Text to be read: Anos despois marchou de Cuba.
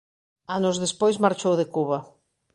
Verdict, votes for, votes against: accepted, 2, 0